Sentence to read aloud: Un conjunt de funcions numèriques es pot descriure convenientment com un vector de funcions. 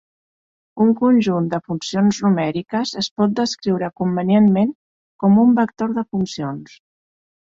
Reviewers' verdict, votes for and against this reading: accepted, 2, 0